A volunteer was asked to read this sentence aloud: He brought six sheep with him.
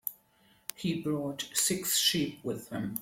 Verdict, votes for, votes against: accepted, 2, 0